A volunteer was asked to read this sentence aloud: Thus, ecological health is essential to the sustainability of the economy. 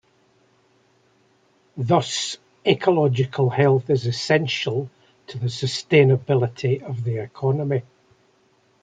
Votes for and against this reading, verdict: 2, 1, accepted